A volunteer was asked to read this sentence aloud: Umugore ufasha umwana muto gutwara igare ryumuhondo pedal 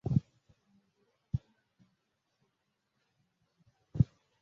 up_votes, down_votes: 0, 2